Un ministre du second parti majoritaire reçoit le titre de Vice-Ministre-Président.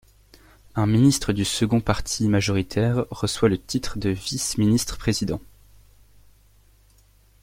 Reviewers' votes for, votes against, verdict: 3, 0, accepted